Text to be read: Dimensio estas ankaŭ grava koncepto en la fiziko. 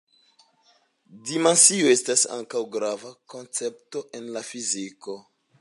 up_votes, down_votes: 2, 0